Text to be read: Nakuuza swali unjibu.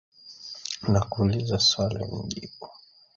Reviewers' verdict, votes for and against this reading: rejected, 1, 3